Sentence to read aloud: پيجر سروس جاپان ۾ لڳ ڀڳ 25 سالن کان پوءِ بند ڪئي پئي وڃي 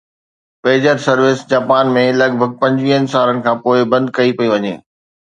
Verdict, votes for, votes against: rejected, 0, 2